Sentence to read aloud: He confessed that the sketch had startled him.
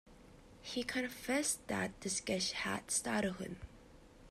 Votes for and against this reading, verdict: 1, 2, rejected